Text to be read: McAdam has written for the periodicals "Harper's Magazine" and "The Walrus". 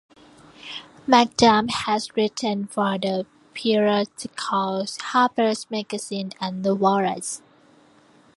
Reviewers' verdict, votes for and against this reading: accepted, 2, 0